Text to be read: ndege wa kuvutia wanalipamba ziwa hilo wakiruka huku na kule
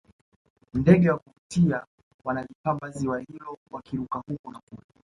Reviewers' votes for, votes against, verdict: 1, 2, rejected